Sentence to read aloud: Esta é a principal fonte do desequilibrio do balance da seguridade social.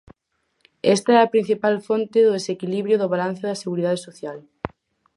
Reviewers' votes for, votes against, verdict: 4, 0, accepted